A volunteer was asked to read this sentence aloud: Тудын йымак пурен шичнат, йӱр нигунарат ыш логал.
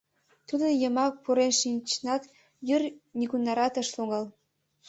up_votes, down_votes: 0, 2